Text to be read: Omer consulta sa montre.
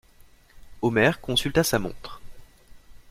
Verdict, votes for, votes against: accepted, 2, 0